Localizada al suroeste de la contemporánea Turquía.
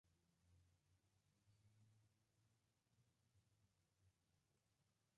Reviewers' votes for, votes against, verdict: 0, 4, rejected